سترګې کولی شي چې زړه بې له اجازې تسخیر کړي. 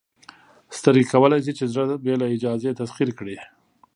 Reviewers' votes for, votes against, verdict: 2, 0, accepted